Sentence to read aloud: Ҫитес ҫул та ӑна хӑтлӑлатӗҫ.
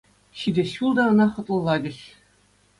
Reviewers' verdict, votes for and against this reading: accepted, 2, 0